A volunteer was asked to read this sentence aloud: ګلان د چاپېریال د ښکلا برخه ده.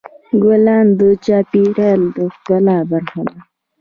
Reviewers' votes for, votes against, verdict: 2, 0, accepted